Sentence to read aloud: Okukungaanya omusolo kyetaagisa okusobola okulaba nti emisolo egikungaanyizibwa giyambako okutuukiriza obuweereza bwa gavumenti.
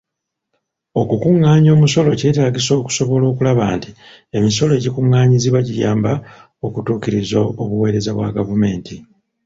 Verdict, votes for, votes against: rejected, 0, 2